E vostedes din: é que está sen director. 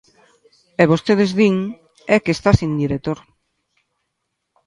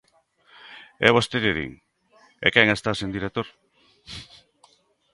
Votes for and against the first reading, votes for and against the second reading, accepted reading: 2, 0, 0, 2, first